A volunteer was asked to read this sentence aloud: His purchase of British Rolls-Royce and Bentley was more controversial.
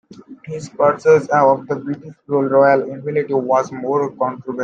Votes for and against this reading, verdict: 0, 2, rejected